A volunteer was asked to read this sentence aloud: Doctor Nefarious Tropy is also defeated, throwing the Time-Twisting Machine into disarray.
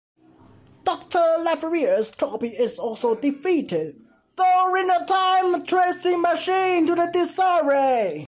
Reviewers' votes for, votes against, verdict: 1, 2, rejected